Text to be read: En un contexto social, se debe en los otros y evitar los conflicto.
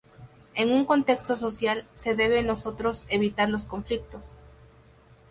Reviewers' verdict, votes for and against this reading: rejected, 0, 2